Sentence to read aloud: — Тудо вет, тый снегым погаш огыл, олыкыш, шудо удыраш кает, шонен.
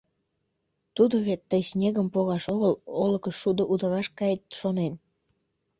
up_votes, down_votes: 2, 0